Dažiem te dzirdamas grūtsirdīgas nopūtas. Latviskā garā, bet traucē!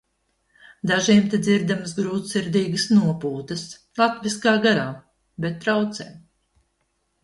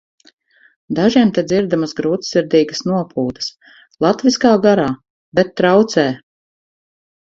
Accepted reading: first